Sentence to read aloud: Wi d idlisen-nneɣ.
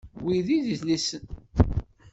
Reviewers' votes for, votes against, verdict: 1, 2, rejected